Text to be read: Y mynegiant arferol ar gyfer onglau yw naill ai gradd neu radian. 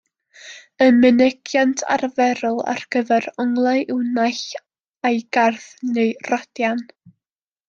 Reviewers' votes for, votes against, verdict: 0, 2, rejected